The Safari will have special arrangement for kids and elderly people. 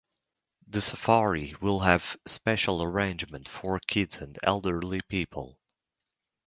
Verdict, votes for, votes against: accepted, 4, 0